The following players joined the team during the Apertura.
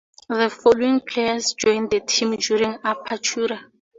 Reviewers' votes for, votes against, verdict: 0, 2, rejected